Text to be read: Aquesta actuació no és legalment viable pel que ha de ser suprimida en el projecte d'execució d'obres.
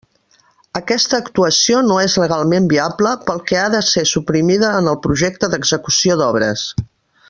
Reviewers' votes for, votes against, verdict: 3, 0, accepted